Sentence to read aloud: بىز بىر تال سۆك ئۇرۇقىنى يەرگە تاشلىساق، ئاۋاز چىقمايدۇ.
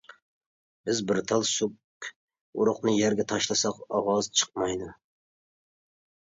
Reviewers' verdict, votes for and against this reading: rejected, 0, 2